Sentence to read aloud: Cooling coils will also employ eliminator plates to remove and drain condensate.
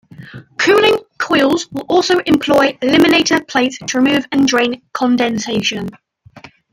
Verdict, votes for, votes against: rejected, 1, 2